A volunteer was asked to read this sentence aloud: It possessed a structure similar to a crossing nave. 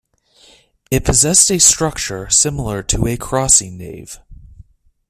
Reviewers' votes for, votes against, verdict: 2, 0, accepted